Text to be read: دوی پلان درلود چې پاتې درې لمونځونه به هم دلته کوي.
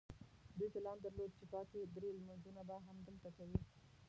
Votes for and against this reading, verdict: 0, 2, rejected